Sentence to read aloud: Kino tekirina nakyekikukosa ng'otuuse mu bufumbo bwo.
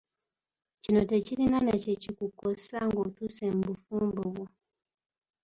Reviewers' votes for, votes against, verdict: 2, 0, accepted